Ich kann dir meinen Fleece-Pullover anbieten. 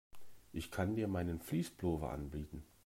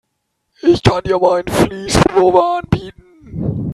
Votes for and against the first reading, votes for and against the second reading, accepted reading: 1, 2, 3, 2, second